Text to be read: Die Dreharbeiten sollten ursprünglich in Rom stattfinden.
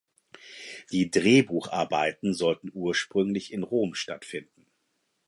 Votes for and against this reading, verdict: 0, 4, rejected